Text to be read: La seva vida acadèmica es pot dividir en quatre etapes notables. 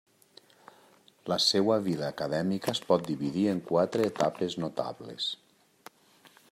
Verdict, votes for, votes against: rejected, 1, 2